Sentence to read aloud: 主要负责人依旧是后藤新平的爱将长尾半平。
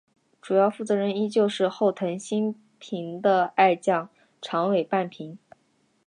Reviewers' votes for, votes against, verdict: 0, 2, rejected